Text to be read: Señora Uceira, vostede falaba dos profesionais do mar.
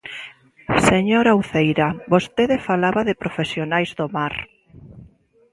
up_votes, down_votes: 0, 2